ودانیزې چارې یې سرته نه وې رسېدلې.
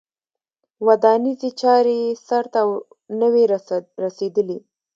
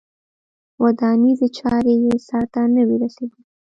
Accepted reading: first